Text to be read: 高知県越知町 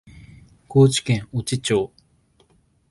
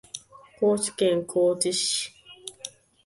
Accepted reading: first